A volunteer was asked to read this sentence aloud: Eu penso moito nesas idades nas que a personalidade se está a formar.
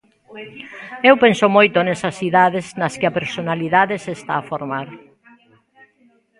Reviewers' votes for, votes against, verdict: 0, 2, rejected